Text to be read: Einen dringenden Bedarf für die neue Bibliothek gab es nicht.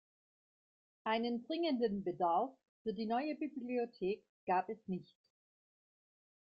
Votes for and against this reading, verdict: 2, 1, accepted